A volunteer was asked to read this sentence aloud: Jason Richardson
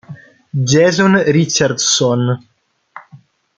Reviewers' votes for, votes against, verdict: 2, 0, accepted